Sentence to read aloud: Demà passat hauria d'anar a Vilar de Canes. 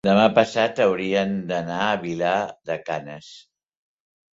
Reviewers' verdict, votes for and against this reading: rejected, 0, 2